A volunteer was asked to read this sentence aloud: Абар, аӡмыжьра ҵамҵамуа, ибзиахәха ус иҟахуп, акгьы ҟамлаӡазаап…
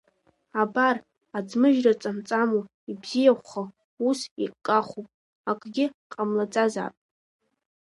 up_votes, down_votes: 2, 1